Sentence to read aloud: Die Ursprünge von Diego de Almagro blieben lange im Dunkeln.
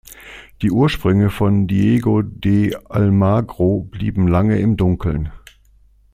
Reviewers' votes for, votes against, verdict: 2, 0, accepted